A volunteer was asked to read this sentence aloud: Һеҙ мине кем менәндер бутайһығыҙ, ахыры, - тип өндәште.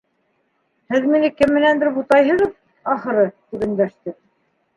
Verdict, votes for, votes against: rejected, 1, 2